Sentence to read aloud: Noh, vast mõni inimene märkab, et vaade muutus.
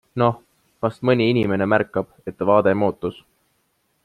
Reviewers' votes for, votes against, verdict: 2, 0, accepted